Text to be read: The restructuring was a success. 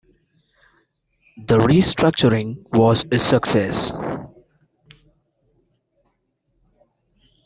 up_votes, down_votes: 2, 0